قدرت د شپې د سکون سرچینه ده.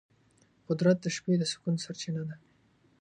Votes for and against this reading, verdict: 2, 0, accepted